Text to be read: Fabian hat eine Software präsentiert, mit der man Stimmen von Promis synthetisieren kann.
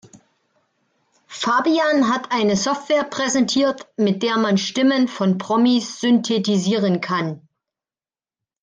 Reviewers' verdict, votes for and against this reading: accepted, 2, 0